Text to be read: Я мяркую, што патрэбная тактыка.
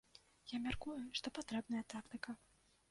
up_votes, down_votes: 2, 0